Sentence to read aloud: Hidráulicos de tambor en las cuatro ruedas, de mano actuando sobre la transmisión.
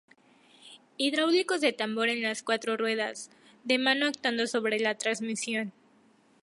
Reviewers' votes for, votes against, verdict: 4, 0, accepted